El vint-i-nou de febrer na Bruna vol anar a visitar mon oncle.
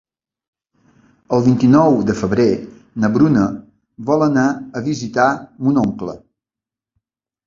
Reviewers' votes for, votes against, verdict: 2, 3, rejected